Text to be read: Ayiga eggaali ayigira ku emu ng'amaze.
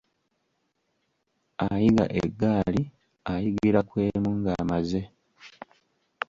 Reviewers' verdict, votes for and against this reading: accepted, 2, 0